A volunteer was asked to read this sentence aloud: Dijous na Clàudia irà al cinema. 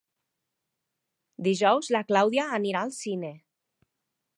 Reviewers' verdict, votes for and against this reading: rejected, 0, 2